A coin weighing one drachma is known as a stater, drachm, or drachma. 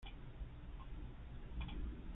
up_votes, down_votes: 0, 2